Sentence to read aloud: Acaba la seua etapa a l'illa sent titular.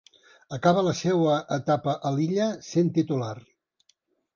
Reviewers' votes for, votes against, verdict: 3, 0, accepted